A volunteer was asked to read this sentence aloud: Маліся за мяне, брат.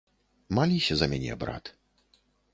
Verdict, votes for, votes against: accepted, 2, 0